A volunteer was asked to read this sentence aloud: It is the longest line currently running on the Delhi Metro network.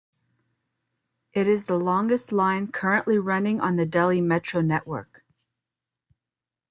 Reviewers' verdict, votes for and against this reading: accepted, 2, 0